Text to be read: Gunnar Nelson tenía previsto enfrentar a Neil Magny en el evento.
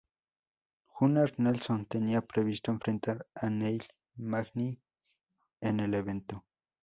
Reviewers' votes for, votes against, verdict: 2, 0, accepted